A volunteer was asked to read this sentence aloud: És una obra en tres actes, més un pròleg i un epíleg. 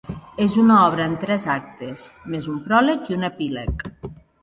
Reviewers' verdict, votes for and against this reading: accepted, 2, 0